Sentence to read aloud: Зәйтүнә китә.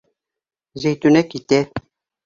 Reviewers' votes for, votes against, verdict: 2, 0, accepted